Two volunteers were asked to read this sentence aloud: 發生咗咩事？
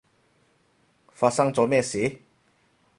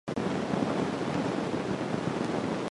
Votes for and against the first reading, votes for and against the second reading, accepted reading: 4, 0, 0, 2, first